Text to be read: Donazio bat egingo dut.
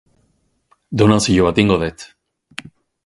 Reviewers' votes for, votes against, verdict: 0, 8, rejected